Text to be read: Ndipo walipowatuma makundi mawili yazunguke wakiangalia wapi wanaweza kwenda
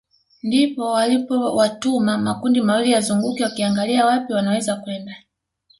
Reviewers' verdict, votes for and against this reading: accepted, 2, 0